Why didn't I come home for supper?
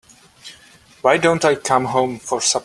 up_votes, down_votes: 0, 2